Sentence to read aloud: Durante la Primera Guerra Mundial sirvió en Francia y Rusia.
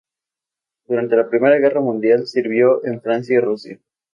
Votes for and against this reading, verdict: 0, 2, rejected